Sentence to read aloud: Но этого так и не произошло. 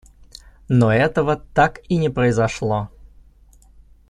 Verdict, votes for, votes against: accepted, 2, 0